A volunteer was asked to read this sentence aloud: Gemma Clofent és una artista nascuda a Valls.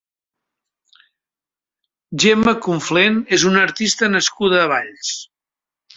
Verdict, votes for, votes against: rejected, 1, 2